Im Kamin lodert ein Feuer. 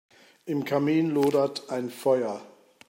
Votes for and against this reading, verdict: 2, 0, accepted